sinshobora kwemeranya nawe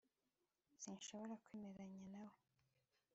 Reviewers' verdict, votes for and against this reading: accepted, 2, 1